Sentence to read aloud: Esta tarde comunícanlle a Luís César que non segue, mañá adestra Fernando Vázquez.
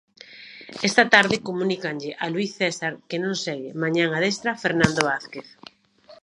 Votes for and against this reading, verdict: 1, 2, rejected